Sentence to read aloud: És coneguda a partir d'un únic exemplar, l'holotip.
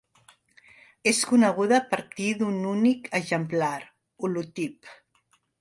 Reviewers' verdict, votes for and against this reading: rejected, 0, 2